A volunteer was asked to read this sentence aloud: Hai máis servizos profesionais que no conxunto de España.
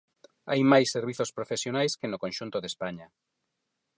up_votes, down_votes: 4, 0